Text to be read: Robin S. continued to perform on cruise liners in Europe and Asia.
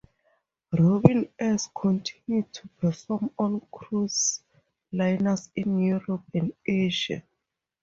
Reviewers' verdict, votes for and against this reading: accepted, 2, 0